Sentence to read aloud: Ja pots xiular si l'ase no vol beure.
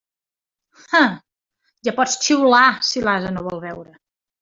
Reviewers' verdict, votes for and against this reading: rejected, 1, 2